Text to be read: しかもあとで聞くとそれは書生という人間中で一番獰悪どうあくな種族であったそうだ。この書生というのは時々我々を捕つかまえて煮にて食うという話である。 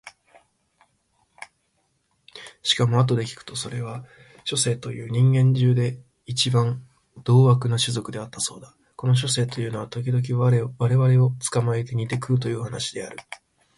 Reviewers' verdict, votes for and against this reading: rejected, 1, 2